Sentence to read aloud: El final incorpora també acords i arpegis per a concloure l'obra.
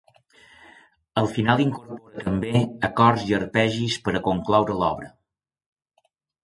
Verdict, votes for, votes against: accepted, 2, 1